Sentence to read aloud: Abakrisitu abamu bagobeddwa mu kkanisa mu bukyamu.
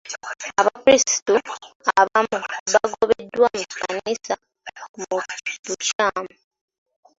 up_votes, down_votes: 1, 2